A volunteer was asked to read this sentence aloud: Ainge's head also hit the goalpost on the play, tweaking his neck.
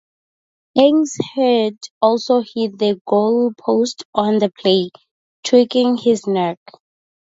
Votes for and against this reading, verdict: 2, 0, accepted